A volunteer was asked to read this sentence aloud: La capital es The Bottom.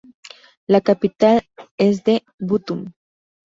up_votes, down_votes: 2, 0